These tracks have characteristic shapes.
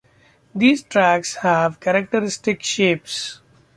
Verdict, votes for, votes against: accepted, 2, 0